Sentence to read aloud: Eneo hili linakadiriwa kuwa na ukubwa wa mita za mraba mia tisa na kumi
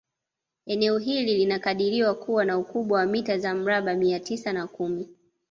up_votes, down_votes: 2, 0